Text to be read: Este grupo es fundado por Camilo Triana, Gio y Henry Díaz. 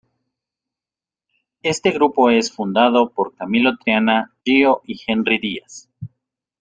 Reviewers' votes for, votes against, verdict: 0, 2, rejected